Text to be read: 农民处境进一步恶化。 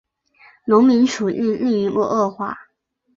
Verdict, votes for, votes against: rejected, 1, 3